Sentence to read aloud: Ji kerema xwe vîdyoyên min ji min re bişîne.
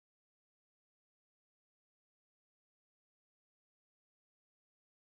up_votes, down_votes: 0, 2